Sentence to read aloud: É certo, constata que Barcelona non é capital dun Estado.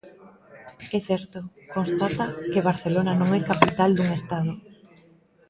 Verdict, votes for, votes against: rejected, 1, 2